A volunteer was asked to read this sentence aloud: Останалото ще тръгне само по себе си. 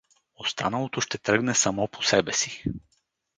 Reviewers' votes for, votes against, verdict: 2, 2, rejected